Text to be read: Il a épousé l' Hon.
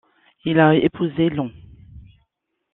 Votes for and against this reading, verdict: 2, 0, accepted